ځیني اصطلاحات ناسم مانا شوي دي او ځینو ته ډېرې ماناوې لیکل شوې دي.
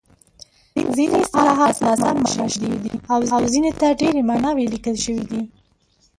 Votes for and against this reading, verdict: 2, 0, accepted